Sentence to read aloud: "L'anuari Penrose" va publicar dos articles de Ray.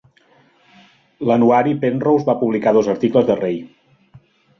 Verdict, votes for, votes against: accepted, 2, 0